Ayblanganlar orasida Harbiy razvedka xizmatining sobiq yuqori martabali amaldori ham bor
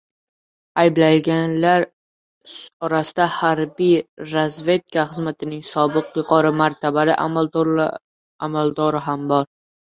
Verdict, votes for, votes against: rejected, 0, 2